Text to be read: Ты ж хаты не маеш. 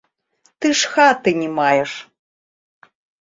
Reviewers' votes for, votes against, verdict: 2, 0, accepted